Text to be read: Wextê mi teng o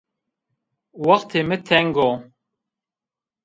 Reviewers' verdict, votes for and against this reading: accepted, 2, 1